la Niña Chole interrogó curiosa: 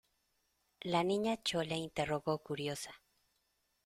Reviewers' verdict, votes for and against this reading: accepted, 2, 0